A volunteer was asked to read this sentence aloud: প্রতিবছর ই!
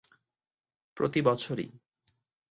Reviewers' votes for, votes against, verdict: 4, 0, accepted